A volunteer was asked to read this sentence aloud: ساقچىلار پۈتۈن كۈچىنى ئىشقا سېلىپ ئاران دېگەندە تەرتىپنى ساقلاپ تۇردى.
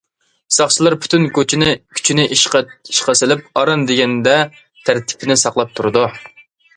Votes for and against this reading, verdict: 0, 2, rejected